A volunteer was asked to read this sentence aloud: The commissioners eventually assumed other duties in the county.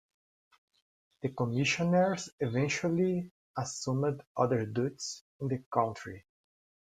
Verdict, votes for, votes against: rejected, 0, 2